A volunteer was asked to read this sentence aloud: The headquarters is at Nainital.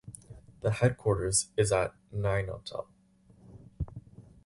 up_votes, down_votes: 2, 2